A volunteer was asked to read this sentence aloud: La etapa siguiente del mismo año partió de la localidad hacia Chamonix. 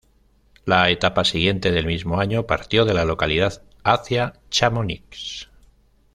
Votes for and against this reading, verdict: 1, 2, rejected